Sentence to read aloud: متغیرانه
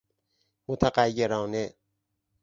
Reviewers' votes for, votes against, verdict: 4, 0, accepted